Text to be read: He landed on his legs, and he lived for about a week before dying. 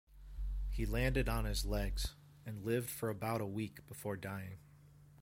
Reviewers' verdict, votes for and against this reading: accepted, 2, 0